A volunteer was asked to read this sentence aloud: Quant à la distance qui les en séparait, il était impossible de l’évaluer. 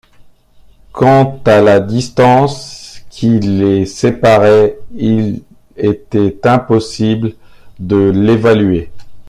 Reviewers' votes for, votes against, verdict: 1, 2, rejected